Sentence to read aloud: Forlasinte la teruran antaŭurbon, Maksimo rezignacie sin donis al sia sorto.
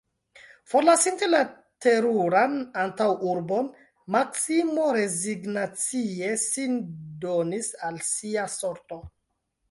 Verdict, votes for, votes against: rejected, 1, 2